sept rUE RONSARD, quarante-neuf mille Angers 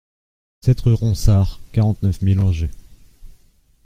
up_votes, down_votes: 2, 1